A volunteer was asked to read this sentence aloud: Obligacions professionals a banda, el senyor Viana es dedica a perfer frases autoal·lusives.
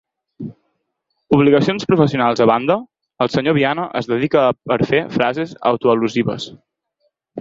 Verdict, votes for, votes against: accepted, 4, 0